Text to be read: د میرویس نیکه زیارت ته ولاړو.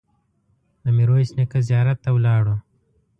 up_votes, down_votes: 2, 0